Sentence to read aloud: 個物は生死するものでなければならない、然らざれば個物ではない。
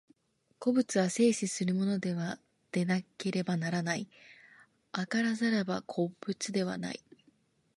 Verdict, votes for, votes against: rejected, 1, 2